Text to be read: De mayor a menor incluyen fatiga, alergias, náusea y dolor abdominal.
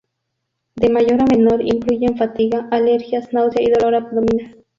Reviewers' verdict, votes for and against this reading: rejected, 0, 2